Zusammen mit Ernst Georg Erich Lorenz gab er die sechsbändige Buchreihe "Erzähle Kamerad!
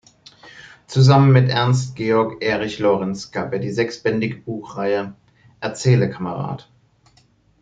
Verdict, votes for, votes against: accepted, 2, 0